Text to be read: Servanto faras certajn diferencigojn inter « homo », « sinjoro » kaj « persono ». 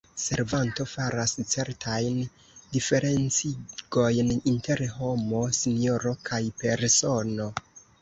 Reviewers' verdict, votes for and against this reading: rejected, 0, 2